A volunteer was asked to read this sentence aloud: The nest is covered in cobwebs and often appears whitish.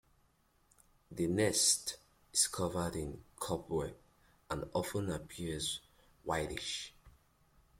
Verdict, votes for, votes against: accepted, 2, 1